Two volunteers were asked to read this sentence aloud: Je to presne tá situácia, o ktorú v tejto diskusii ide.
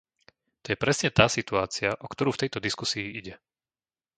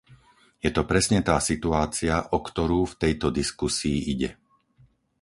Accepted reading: second